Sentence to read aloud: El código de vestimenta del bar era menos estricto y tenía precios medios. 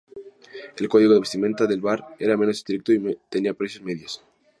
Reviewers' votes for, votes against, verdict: 2, 0, accepted